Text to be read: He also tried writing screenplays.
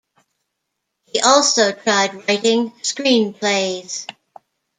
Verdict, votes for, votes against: accepted, 2, 0